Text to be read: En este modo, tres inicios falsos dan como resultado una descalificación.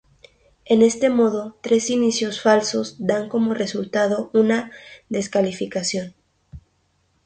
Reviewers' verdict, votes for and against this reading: rejected, 2, 2